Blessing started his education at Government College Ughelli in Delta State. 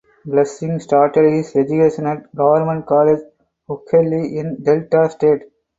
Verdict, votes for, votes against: accepted, 4, 2